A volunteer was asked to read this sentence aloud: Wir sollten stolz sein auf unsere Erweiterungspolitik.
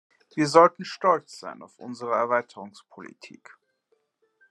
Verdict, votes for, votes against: accepted, 2, 0